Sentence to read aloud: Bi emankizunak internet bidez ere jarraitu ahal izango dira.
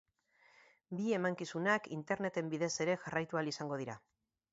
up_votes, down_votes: 2, 0